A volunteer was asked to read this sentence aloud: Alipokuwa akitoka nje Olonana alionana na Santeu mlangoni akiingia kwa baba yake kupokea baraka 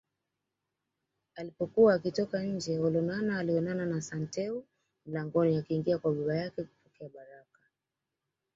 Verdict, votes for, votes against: accepted, 2, 1